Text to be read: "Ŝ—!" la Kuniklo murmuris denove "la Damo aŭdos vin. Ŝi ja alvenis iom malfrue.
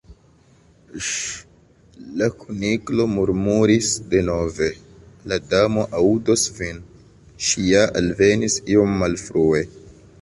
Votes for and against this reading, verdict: 2, 1, accepted